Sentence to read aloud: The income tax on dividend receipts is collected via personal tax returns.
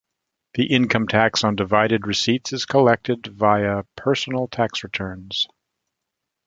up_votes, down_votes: 0, 2